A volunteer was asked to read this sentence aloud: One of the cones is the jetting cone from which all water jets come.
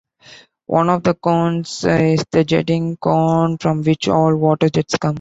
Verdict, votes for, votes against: accepted, 3, 0